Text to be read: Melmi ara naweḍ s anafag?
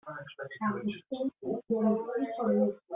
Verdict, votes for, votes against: rejected, 0, 3